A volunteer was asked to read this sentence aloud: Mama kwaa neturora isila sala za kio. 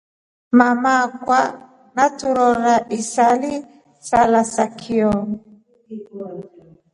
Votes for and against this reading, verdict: 4, 0, accepted